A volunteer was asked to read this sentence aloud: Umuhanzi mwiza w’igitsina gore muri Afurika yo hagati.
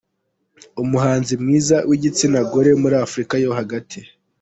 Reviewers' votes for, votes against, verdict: 2, 1, accepted